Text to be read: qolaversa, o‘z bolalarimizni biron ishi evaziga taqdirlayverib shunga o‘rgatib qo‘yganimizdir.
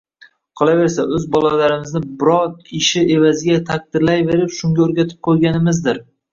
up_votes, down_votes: 0, 2